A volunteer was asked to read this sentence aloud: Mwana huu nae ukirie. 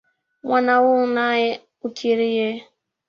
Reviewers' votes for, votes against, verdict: 2, 0, accepted